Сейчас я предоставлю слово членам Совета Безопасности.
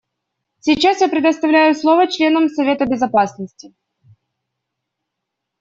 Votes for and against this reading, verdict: 1, 2, rejected